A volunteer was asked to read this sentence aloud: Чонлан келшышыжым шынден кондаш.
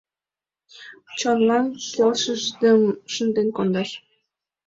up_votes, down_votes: 2, 0